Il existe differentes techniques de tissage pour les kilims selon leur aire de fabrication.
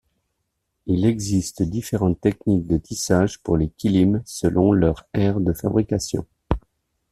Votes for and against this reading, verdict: 2, 0, accepted